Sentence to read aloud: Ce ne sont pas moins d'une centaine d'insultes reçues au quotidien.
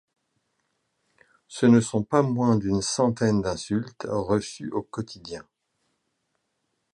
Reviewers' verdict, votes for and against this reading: accepted, 2, 0